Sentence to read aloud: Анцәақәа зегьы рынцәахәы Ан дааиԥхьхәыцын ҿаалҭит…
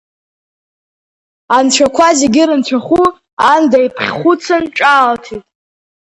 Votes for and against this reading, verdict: 2, 3, rejected